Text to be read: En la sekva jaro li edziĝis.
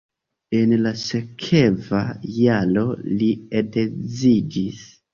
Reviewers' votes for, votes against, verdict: 2, 1, accepted